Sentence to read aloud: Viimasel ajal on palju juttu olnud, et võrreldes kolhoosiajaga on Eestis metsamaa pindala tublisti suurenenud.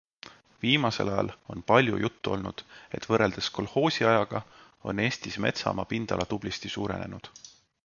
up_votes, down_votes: 2, 0